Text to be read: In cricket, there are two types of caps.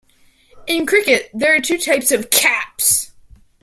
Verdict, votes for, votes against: accepted, 2, 1